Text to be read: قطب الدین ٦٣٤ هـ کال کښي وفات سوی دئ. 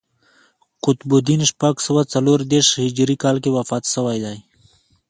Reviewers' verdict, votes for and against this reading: rejected, 0, 2